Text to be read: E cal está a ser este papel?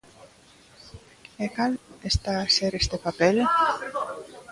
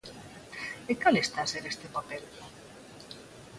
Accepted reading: second